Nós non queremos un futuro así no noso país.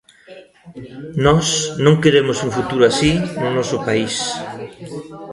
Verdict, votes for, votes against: rejected, 0, 2